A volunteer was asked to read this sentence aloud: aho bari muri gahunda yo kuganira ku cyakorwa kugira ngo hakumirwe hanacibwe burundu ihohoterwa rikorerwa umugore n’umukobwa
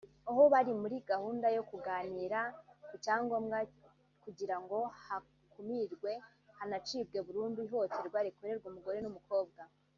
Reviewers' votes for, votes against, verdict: 1, 2, rejected